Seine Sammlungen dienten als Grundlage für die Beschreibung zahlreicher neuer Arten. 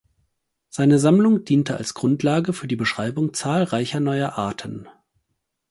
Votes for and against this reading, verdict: 0, 4, rejected